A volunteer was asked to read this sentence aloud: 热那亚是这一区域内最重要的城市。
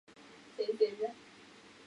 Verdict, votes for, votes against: rejected, 0, 2